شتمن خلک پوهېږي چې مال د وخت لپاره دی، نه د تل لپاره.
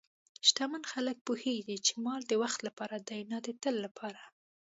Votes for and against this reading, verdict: 2, 0, accepted